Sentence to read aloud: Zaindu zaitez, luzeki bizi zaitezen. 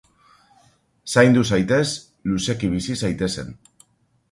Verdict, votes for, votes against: accepted, 2, 0